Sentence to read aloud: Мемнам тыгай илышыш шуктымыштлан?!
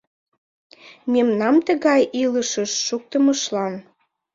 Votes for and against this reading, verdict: 2, 1, accepted